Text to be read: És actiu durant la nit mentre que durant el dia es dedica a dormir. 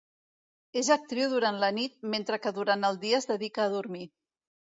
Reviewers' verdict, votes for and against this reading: rejected, 1, 2